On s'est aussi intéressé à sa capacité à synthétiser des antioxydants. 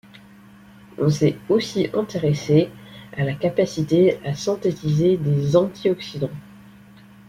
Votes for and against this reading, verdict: 1, 2, rejected